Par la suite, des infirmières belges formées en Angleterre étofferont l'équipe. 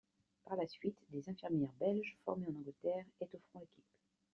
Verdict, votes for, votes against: rejected, 0, 2